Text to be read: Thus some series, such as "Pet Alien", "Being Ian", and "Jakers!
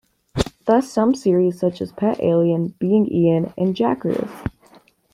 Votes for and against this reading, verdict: 2, 0, accepted